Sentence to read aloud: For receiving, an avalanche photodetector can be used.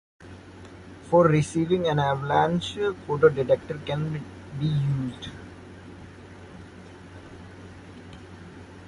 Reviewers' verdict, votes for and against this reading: rejected, 0, 2